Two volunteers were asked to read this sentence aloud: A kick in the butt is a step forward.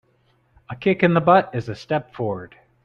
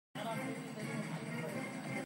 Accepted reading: first